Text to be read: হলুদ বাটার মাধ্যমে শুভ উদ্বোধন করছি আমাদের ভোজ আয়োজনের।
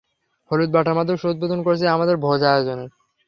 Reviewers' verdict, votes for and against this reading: rejected, 0, 3